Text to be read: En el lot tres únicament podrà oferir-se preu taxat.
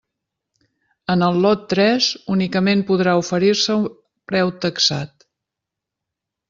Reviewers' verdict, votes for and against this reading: rejected, 1, 2